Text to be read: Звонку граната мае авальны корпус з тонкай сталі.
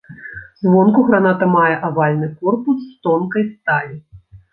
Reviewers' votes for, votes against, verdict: 2, 0, accepted